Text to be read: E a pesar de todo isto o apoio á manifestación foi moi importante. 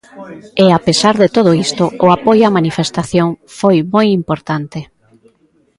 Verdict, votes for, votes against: accepted, 2, 0